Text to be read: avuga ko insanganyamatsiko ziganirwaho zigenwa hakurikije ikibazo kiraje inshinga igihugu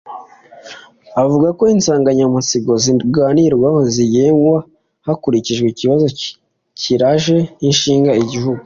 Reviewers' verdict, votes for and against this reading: accepted, 2, 0